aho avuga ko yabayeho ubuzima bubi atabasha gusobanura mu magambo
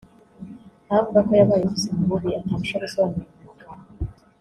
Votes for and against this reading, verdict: 1, 2, rejected